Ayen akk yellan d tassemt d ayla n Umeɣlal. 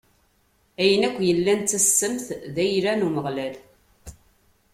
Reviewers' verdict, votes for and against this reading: accepted, 2, 0